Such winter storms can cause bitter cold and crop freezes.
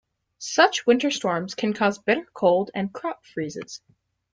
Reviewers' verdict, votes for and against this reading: accepted, 2, 0